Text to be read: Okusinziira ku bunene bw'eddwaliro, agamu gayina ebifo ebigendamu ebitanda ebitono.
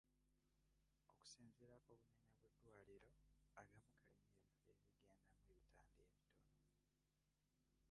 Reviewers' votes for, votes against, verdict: 0, 2, rejected